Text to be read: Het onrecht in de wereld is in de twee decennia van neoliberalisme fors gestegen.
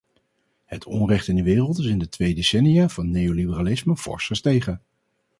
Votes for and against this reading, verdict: 2, 0, accepted